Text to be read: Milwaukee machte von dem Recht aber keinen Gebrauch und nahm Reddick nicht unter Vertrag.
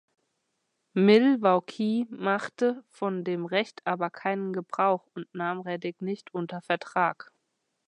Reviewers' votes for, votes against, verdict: 2, 0, accepted